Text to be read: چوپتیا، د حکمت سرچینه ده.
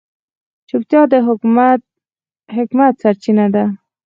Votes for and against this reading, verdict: 2, 4, rejected